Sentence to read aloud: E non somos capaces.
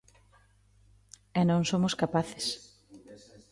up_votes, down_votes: 0, 2